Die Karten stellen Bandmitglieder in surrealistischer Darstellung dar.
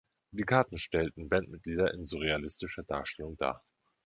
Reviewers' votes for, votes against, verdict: 2, 4, rejected